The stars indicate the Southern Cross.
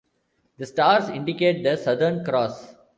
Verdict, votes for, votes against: accepted, 2, 0